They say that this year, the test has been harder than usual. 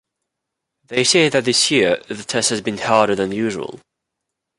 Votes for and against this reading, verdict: 2, 0, accepted